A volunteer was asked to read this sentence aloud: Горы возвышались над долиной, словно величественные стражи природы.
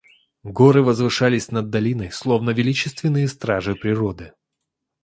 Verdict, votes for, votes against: accepted, 2, 0